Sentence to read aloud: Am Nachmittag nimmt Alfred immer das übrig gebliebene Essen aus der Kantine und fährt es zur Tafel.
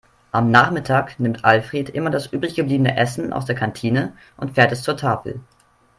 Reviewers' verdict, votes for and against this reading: accepted, 3, 0